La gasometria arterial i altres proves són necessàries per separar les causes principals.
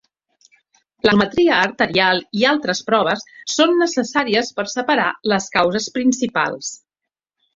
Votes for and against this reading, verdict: 0, 2, rejected